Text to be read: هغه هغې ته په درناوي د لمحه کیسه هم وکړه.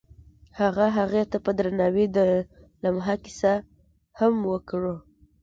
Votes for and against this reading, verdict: 1, 2, rejected